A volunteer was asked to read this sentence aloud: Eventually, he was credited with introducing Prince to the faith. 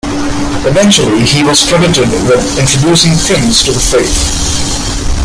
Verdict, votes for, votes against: accepted, 2, 1